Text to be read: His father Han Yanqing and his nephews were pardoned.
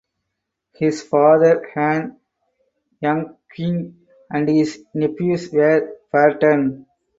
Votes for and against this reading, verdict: 0, 6, rejected